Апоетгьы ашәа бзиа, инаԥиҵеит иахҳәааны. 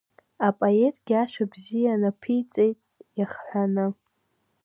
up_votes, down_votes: 0, 2